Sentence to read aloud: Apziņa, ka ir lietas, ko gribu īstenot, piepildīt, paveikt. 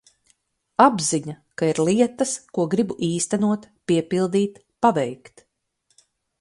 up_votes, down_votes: 2, 4